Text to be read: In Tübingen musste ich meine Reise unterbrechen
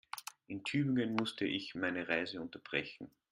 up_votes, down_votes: 0, 2